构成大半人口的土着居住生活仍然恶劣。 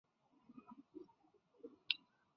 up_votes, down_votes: 0, 2